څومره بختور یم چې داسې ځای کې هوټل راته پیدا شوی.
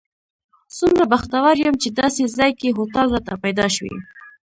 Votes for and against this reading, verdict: 2, 0, accepted